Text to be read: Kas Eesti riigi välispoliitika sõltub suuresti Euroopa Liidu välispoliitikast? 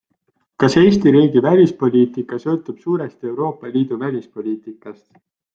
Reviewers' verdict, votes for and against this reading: accepted, 2, 0